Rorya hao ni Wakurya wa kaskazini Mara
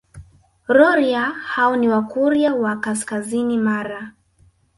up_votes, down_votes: 2, 1